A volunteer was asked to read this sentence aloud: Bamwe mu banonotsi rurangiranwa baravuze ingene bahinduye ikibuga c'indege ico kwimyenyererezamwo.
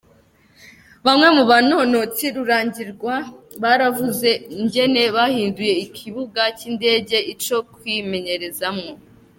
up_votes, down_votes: 1, 2